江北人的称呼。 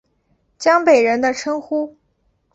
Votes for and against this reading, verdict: 4, 0, accepted